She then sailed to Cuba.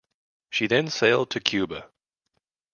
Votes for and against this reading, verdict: 2, 0, accepted